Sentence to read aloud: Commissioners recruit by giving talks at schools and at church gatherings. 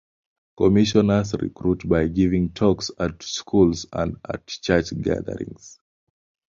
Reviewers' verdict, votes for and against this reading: accepted, 2, 0